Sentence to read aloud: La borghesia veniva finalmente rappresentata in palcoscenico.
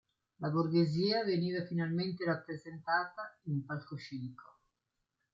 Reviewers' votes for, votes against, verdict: 2, 0, accepted